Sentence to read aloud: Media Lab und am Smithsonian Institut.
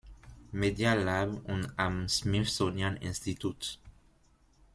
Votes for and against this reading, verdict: 2, 1, accepted